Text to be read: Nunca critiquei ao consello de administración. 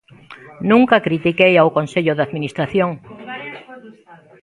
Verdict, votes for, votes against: rejected, 1, 2